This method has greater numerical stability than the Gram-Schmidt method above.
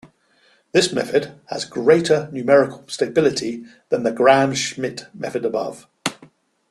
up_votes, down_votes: 2, 1